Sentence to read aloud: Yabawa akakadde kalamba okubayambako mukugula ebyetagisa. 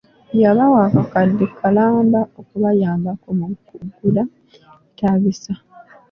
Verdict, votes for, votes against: rejected, 1, 2